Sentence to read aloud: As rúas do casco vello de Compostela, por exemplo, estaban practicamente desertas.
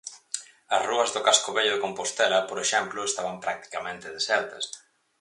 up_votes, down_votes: 4, 0